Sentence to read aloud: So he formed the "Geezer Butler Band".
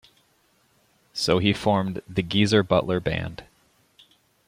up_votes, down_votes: 2, 0